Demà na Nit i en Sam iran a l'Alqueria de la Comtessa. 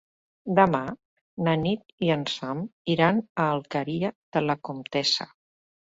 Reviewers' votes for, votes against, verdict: 2, 1, accepted